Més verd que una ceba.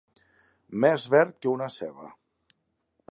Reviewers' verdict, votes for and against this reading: accepted, 3, 0